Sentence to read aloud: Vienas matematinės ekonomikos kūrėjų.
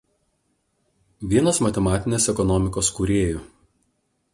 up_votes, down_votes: 2, 0